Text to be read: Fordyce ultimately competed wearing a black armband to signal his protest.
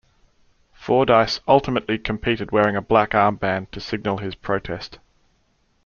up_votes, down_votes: 2, 0